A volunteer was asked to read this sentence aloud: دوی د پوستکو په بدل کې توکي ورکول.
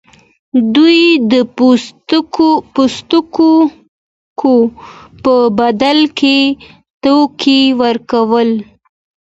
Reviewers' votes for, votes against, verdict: 1, 2, rejected